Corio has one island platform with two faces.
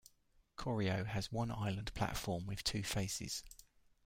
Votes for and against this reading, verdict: 1, 2, rejected